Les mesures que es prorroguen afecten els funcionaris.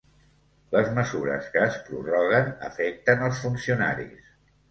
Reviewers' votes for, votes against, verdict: 2, 0, accepted